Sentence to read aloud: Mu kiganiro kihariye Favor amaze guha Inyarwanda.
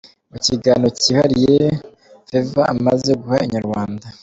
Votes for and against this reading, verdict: 2, 0, accepted